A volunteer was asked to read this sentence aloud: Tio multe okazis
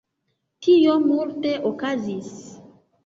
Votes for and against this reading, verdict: 2, 0, accepted